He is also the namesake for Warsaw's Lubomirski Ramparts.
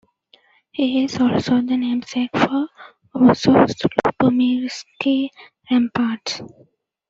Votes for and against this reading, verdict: 1, 2, rejected